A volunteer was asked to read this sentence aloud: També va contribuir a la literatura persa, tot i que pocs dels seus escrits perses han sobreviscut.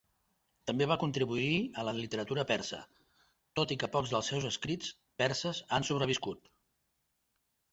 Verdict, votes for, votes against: accepted, 5, 0